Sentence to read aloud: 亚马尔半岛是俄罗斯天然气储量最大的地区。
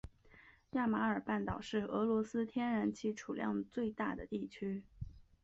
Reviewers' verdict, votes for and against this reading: accepted, 3, 0